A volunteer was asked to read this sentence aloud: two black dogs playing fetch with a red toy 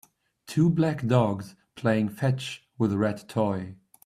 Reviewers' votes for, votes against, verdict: 2, 0, accepted